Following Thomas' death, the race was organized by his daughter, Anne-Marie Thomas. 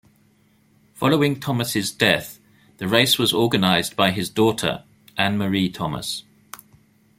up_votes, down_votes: 2, 1